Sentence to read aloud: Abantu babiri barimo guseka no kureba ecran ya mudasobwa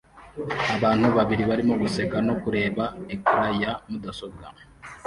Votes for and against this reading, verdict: 2, 1, accepted